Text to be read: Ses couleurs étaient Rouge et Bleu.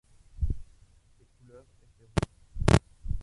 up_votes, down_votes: 0, 2